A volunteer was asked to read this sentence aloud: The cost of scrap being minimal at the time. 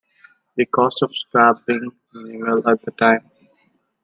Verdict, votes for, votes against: accepted, 2, 1